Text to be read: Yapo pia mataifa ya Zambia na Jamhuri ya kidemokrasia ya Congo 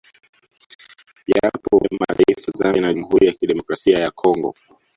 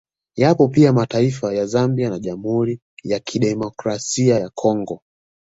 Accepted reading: second